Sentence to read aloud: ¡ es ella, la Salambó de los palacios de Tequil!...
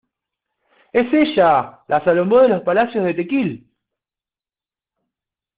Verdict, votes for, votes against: accepted, 2, 1